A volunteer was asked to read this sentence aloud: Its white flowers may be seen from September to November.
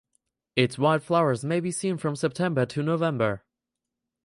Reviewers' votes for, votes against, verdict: 2, 4, rejected